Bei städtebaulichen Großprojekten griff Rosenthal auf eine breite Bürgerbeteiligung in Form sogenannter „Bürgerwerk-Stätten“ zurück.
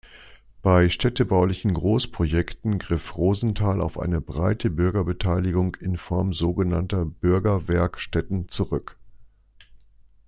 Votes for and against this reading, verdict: 2, 0, accepted